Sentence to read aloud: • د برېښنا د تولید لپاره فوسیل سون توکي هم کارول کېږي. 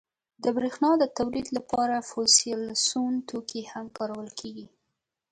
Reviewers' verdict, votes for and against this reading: accepted, 2, 1